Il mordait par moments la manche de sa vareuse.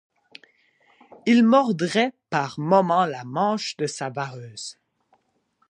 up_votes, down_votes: 2, 0